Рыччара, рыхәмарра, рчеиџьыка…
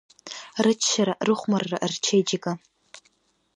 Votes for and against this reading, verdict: 2, 1, accepted